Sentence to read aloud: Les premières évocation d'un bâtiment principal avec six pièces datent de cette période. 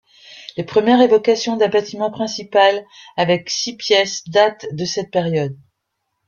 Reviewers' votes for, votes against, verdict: 2, 1, accepted